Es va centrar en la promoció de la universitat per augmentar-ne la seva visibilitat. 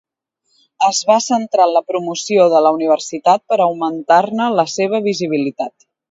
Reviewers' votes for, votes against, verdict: 2, 0, accepted